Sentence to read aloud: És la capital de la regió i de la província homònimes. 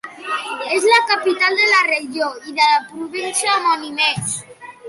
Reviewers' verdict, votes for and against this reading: rejected, 1, 2